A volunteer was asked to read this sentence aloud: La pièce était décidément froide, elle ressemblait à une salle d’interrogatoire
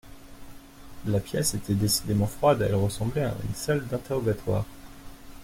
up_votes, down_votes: 2, 0